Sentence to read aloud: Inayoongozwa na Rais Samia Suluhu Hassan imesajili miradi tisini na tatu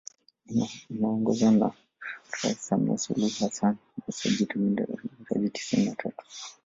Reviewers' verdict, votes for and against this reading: rejected, 0, 2